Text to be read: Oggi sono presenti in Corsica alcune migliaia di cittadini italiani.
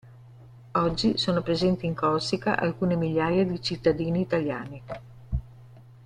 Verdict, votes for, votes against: accepted, 2, 0